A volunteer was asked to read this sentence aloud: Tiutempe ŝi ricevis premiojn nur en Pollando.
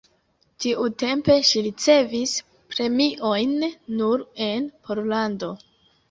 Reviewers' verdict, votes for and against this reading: rejected, 1, 2